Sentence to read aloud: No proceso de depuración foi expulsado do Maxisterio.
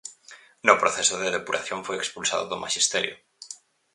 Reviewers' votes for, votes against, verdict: 4, 0, accepted